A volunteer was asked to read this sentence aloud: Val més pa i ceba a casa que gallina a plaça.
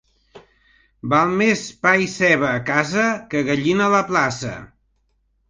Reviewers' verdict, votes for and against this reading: rejected, 1, 3